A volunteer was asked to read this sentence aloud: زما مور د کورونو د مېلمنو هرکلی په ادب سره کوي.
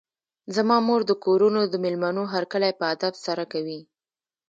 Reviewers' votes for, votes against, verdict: 2, 0, accepted